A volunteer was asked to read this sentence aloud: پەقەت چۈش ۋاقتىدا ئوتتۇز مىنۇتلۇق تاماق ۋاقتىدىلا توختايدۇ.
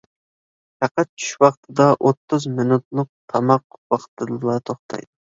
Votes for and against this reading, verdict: 1, 2, rejected